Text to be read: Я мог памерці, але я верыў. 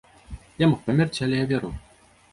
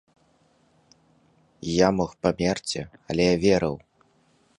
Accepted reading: second